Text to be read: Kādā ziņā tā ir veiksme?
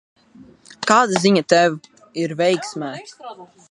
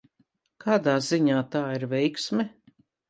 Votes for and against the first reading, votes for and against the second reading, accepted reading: 0, 3, 3, 0, second